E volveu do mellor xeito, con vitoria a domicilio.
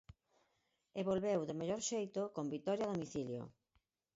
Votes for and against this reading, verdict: 4, 0, accepted